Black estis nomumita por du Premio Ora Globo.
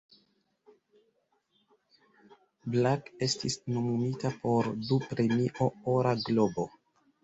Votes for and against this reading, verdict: 1, 2, rejected